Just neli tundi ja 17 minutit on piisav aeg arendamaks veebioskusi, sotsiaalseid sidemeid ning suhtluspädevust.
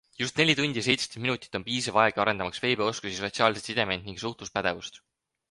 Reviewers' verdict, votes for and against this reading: rejected, 0, 2